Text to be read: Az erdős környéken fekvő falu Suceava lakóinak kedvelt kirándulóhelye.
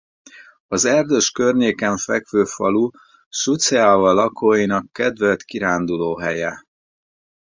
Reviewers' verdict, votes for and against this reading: rejected, 0, 2